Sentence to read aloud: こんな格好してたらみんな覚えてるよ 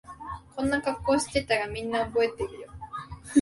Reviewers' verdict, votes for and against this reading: accepted, 2, 0